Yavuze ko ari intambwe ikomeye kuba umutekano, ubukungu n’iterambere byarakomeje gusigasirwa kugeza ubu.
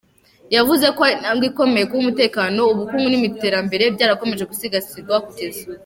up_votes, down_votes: 1, 3